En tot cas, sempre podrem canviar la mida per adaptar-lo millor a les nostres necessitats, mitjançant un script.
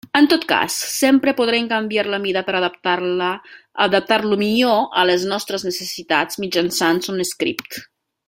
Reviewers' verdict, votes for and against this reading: rejected, 0, 2